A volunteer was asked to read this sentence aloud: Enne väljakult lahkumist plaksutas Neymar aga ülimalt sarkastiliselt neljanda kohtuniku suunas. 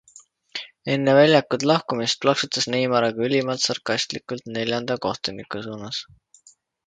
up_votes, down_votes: 0, 2